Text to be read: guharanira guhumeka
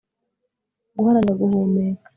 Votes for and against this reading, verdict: 2, 0, accepted